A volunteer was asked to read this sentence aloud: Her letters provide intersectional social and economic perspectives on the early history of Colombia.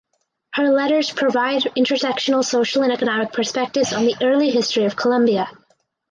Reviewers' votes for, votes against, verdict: 2, 0, accepted